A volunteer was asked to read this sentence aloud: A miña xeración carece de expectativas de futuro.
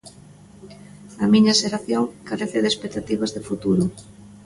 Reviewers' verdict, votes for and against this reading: rejected, 1, 2